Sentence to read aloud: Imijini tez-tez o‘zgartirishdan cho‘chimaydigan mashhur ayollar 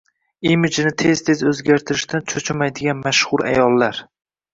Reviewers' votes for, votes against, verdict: 2, 0, accepted